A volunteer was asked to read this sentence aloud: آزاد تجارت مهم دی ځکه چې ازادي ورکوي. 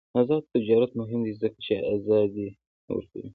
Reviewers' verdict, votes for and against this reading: rejected, 0, 2